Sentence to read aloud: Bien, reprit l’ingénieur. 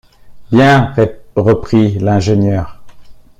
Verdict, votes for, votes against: rejected, 0, 2